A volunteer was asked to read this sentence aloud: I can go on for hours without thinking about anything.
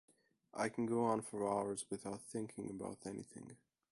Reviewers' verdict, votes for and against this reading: accepted, 2, 1